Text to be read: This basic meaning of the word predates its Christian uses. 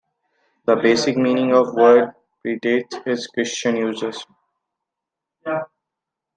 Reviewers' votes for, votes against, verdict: 1, 2, rejected